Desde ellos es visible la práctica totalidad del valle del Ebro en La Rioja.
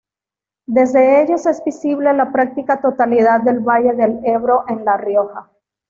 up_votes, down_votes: 2, 0